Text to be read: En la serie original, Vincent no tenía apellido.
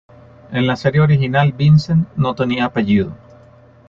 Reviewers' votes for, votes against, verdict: 2, 0, accepted